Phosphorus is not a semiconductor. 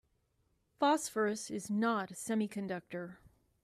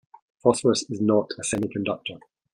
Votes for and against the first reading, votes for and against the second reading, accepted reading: 0, 2, 2, 0, second